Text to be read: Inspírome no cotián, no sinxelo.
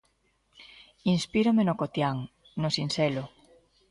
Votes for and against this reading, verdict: 2, 0, accepted